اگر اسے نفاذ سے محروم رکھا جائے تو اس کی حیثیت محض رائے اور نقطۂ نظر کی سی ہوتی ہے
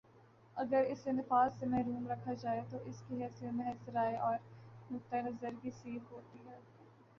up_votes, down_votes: 1, 2